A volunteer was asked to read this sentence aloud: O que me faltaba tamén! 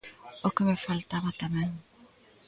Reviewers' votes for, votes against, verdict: 3, 0, accepted